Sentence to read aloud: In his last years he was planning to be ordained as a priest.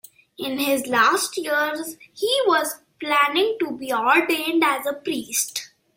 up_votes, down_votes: 2, 1